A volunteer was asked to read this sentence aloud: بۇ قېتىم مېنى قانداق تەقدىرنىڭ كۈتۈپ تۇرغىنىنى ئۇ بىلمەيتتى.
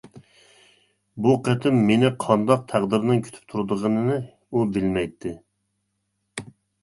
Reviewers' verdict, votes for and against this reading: rejected, 1, 2